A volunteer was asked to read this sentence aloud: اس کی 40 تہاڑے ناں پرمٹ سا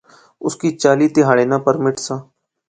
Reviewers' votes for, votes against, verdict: 0, 2, rejected